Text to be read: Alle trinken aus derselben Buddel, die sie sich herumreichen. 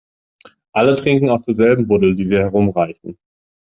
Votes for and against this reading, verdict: 1, 2, rejected